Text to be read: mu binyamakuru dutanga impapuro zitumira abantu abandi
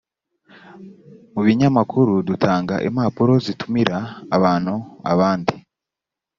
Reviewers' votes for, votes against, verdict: 3, 0, accepted